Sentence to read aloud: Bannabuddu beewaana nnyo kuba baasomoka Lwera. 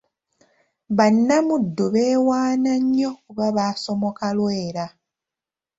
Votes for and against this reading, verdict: 1, 2, rejected